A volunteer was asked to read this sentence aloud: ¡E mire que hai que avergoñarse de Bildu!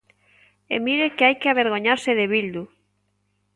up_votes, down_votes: 2, 0